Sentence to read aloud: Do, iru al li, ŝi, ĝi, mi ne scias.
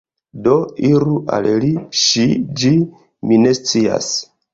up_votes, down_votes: 0, 2